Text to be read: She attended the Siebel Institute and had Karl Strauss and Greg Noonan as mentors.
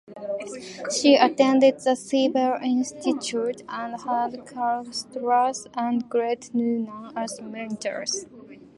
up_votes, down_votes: 0, 2